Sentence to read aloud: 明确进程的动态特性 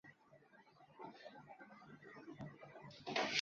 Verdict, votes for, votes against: rejected, 0, 2